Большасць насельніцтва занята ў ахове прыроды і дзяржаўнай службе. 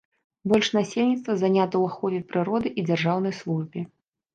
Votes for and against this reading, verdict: 0, 2, rejected